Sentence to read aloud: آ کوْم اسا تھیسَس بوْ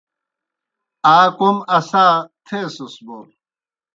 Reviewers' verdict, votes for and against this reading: accepted, 2, 0